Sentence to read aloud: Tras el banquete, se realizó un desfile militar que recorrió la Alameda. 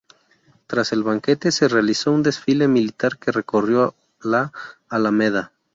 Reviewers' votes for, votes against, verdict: 2, 0, accepted